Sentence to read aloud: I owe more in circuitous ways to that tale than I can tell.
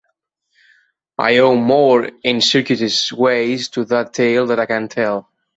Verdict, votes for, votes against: rejected, 1, 2